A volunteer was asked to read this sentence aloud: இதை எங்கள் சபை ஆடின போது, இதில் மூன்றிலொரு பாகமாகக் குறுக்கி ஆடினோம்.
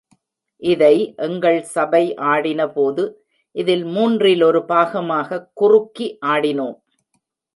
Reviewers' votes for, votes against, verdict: 2, 0, accepted